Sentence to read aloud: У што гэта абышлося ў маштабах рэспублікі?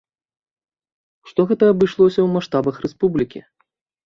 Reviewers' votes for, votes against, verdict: 2, 1, accepted